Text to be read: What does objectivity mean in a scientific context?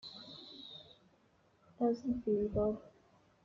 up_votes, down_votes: 0, 2